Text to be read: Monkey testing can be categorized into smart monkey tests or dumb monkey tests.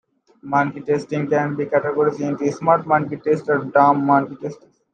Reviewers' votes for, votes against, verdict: 1, 2, rejected